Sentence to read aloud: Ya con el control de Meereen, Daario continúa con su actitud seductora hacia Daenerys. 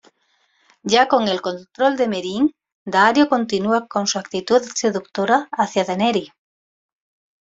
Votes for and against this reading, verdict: 2, 0, accepted